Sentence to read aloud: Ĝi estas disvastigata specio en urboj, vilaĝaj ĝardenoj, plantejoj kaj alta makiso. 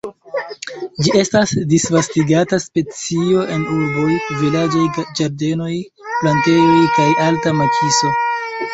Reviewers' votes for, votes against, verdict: 1, 2, rejected